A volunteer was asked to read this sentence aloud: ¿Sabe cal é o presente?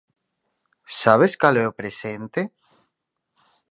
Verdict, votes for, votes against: rejected, 0, 4